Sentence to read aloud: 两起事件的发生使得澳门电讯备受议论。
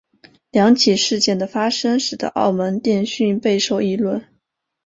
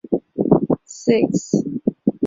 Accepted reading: first